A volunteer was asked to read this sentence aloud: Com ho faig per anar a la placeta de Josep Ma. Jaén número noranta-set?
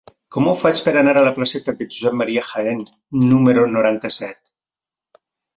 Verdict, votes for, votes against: accepted, 2, 0